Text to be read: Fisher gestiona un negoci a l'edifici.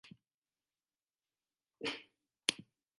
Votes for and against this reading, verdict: 0, 2, rejected